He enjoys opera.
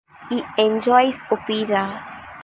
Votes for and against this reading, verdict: 2, 0, accepted